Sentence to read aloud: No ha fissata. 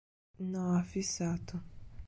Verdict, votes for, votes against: rejected, 0, 2